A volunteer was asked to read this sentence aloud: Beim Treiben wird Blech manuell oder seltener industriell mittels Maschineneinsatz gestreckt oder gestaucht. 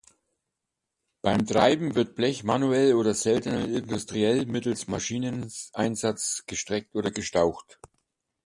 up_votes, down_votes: 1, 2